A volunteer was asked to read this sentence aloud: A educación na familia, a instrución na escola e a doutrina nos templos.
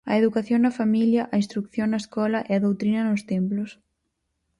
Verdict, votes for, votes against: rejected, 2, 4